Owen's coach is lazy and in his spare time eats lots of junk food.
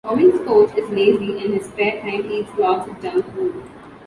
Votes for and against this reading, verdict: 1, 2, rejected